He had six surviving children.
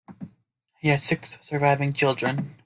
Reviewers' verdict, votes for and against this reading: rejected, 1, 2